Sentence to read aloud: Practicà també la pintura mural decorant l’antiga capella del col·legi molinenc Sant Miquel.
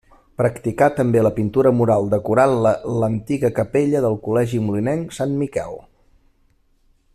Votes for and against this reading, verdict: 0, 2, rejected